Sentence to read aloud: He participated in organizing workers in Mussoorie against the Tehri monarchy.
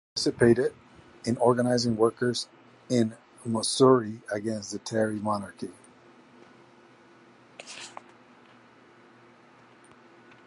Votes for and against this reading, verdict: 2, 2, rejected